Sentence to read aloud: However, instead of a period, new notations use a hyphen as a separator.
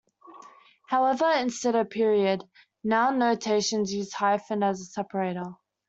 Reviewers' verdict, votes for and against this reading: rejected, 0, 2